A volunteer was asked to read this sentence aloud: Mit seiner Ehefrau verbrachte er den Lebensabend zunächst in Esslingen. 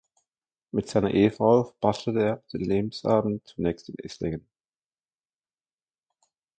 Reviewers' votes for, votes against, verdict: 0, 2, rejected